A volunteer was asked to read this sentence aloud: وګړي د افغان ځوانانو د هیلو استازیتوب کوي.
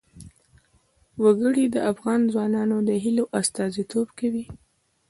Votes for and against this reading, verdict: 0, 2, rejected